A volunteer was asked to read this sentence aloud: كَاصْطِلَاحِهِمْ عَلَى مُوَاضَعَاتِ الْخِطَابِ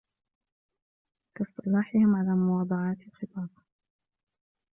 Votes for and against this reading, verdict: 1, 2, rejected